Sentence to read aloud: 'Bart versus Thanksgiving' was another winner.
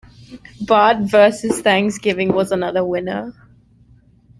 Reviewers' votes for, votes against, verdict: 2, 1, accepted